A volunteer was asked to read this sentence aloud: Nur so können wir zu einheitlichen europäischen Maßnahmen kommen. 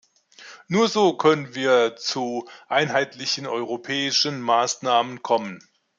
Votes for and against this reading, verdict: 2, 0, accepted